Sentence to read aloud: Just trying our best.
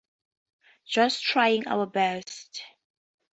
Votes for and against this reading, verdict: 4, 0, accepted